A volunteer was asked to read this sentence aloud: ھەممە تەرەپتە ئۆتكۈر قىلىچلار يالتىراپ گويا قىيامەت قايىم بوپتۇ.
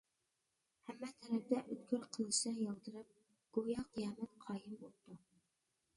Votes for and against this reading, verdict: 0, 2, rejected